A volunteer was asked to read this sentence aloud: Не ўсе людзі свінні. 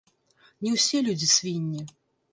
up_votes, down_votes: 1, 2